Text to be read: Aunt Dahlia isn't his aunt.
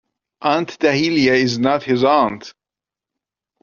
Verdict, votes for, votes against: rejected, 0, 2